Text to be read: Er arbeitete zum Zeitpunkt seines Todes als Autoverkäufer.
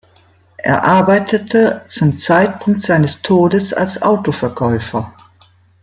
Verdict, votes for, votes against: accepted, 2, 0